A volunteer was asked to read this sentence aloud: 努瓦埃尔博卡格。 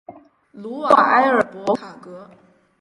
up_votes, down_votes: 2, 0